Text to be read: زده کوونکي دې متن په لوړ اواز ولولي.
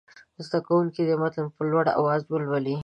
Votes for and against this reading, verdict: 2, 0, accepted